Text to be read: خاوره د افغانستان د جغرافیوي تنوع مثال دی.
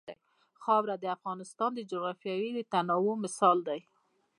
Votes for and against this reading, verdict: 1, 2, rejected